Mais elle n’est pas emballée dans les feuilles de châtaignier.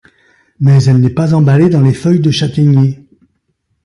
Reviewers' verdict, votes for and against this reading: accepted, 2, 0